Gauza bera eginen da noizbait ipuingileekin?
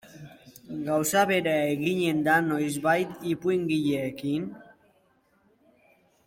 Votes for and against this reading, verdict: 2, 1, accepted